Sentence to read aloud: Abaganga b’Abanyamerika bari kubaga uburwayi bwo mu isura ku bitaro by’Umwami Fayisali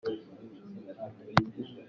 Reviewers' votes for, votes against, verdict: 0, 2, rejected